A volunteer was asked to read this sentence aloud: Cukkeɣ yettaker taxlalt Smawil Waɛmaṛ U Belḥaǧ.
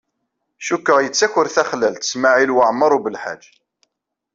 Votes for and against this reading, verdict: 1, 2, rejected